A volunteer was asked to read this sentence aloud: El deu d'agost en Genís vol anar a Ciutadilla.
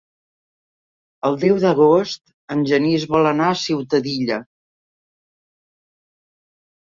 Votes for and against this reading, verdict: 3, 0, accepted